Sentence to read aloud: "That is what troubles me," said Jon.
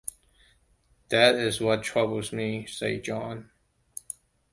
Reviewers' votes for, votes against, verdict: 2, 1, accepted